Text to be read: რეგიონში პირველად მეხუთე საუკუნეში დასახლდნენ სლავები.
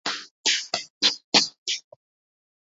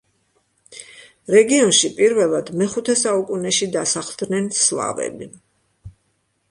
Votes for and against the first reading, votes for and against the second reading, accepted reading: 0, 2, 2, 0, second